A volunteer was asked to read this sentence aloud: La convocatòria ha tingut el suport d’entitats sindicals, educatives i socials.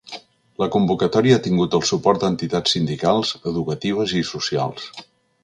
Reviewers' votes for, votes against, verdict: 3, 0, accepted